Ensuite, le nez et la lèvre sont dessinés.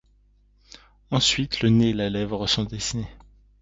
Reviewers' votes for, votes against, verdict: 2, 0, accepted